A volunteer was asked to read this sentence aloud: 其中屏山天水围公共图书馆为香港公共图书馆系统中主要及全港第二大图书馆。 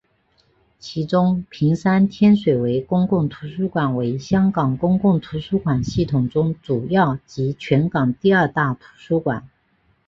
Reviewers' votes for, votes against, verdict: 2, 1, accepted